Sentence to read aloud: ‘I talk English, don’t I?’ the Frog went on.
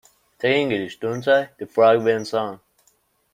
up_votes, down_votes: 0, 2